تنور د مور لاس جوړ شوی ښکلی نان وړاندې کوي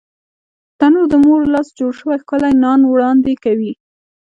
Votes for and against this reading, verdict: 2, 1, accepted